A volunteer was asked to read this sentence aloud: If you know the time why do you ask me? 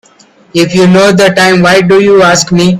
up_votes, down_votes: 1, 2